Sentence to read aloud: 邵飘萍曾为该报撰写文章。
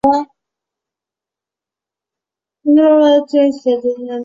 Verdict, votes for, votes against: rejected, 2, 4